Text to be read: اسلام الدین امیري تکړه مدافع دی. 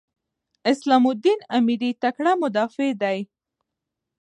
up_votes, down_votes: 1, 3